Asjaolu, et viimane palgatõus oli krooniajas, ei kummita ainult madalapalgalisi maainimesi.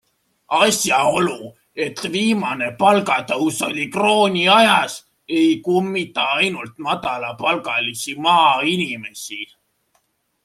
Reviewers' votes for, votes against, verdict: 2, 1, accepted